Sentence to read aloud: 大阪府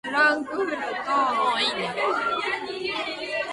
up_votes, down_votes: 0, 2